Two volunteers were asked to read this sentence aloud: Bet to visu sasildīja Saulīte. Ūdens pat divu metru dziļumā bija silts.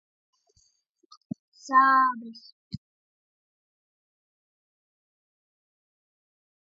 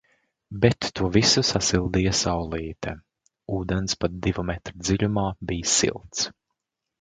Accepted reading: second